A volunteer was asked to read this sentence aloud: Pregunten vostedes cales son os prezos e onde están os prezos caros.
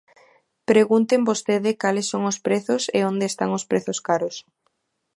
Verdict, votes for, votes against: rejected, 1, 2